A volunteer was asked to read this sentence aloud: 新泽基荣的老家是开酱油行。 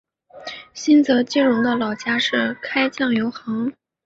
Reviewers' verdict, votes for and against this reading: accepted, 2, 0